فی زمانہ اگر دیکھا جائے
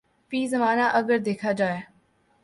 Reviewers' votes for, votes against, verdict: 2, 0, accepted